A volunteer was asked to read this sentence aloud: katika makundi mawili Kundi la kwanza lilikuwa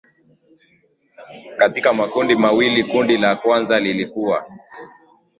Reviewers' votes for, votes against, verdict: 2, 1, accepted